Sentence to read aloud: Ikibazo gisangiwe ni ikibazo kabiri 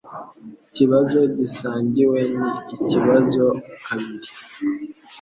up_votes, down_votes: 2, 0